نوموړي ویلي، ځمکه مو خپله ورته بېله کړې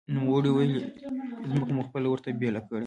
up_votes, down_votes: 2, 1